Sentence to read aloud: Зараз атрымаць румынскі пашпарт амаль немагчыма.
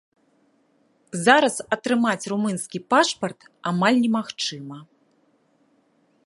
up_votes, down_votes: 2, 0